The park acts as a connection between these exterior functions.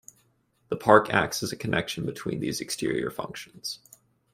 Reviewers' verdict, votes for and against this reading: accepted, 2, 0